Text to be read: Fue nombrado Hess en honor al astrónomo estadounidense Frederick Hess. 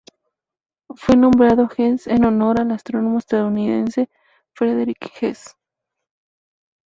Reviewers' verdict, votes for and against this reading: accepted, 4, 0